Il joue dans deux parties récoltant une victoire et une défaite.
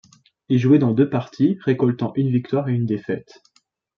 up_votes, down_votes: 1, 2